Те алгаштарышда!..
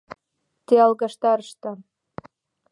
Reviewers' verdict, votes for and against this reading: accepted, 2, 0